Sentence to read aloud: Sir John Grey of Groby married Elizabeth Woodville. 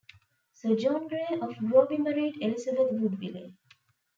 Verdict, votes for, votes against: rejected, 0, 3